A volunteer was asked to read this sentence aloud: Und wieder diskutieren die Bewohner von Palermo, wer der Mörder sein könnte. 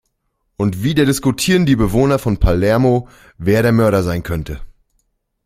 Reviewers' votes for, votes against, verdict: 2, 0, accepted